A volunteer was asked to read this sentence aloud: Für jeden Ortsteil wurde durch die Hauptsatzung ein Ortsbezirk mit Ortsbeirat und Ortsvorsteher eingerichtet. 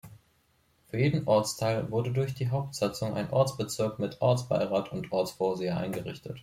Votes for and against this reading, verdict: 1, 3, rejected